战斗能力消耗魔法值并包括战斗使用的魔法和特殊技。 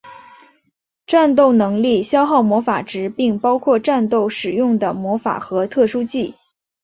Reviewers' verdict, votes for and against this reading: accepted, 2, 0